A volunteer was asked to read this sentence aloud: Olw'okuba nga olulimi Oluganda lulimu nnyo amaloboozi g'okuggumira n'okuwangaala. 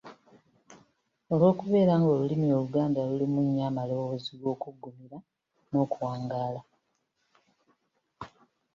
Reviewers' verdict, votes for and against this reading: rejected, 1, 2